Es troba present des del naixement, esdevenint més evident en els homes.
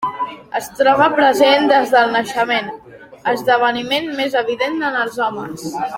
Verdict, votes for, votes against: rejected, 0, 2